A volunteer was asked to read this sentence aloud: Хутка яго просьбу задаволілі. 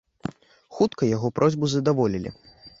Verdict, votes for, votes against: accepted, 2, 0